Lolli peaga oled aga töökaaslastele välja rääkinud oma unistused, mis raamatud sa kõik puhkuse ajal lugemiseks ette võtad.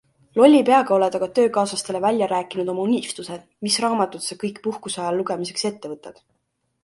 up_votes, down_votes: 3, 0